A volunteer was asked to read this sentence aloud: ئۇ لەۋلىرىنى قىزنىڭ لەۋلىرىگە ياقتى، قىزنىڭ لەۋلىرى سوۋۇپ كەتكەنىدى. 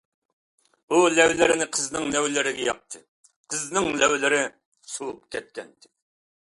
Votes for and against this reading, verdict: 2, 0, accepted